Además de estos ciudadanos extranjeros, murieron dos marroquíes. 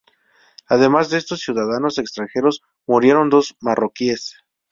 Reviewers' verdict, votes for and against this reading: accepted, 4, 0